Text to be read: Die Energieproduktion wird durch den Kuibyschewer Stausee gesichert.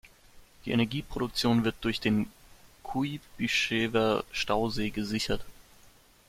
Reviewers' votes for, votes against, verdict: 0, 2, rejected